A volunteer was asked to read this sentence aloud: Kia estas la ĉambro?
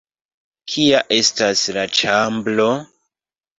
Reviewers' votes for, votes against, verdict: 2, 3, rejected